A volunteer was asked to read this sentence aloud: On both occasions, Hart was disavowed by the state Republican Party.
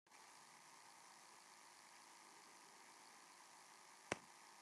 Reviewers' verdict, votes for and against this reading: rejected, 0, 2